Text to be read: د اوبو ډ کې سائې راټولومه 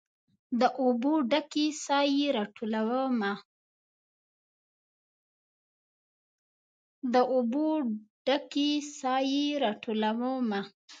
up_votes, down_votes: 1, 2